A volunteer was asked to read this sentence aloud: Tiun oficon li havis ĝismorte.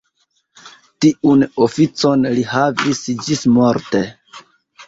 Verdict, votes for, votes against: accepted, 2, 0